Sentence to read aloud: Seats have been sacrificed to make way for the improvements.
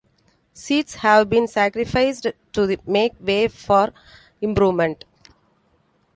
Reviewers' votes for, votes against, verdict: 0, 2, rejected